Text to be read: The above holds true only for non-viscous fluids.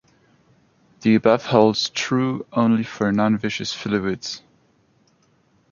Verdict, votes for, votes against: accepted, 2, 0